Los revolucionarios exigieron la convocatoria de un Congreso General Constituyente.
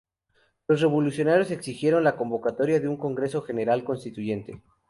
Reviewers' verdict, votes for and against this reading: rejected, 0, 2